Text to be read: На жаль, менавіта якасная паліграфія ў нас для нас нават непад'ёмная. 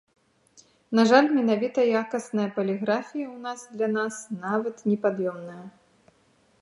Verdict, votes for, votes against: accepted, 2, 0